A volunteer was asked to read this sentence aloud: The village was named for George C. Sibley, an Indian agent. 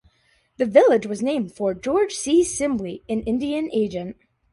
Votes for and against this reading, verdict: 2, 0, accepted